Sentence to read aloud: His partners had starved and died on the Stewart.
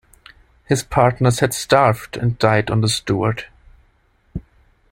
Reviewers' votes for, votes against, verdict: 2, 0, accepted